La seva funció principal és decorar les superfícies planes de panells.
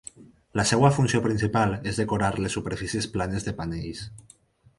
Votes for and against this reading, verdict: 0, 4, rejected